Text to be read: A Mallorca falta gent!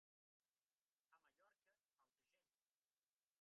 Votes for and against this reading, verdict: 1, 2, rejected